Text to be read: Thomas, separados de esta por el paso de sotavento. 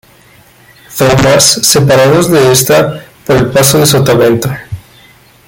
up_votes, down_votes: 1, 2